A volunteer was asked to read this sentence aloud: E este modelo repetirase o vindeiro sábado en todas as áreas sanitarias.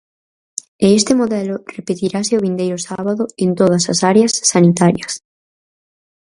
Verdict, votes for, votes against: accepted, 4, 2